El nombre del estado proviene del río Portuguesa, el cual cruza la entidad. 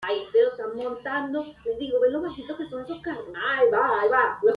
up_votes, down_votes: 0, 2